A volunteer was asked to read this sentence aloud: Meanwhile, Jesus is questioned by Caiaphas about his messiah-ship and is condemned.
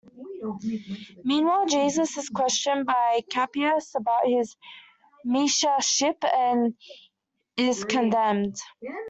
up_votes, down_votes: 1, 2